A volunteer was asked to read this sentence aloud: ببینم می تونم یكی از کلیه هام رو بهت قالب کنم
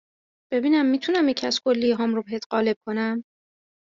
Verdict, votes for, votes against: accepted, 2, 0